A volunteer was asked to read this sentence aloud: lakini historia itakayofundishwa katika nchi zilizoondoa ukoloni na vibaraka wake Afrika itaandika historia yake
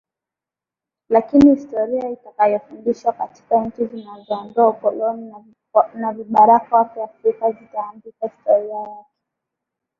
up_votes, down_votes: 2, 0